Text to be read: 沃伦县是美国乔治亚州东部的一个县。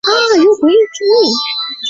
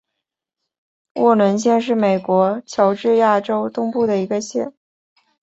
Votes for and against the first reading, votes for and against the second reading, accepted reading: 0, 2, 3, 1, second